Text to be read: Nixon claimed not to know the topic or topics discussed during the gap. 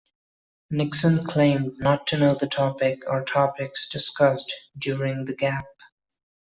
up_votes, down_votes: 2, 0